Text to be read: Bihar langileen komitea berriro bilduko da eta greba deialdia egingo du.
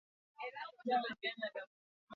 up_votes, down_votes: 0, 2